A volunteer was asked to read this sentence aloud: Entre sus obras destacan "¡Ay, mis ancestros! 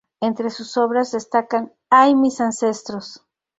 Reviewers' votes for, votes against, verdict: 2, 0, accepted